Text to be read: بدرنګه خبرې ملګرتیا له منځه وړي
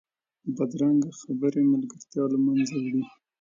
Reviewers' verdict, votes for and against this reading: rejected, 1, 2